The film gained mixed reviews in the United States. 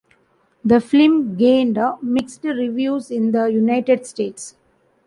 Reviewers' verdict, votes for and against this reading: accepted, 2, 0